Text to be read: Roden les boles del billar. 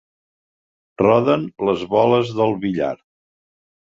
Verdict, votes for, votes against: accepted, 3, 0